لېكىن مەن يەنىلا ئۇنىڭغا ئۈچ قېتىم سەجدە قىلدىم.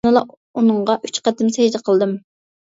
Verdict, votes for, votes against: rejected, 0, 2